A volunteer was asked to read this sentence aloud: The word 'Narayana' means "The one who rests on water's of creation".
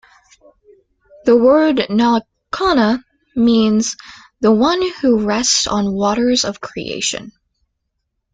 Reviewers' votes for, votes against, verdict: 1, 2, rejected